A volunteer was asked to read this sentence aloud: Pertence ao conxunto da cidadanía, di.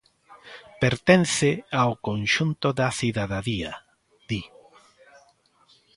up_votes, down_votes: 1, 2